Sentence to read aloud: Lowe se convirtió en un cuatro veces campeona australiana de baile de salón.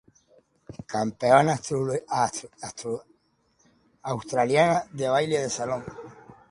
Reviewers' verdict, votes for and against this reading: rejected, 0, 2